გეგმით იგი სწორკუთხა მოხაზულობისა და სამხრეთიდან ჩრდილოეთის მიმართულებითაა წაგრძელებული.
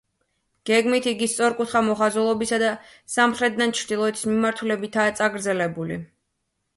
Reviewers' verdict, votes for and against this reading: accepted, 2, 1